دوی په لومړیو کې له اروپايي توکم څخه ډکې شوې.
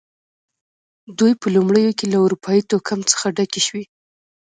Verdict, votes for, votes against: rejected, 2, 3